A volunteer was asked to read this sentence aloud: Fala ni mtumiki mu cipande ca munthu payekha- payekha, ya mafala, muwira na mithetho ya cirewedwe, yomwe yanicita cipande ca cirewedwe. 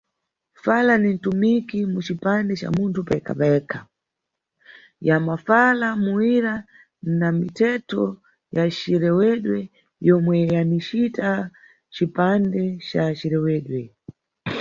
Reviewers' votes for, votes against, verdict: 2, 0, accepted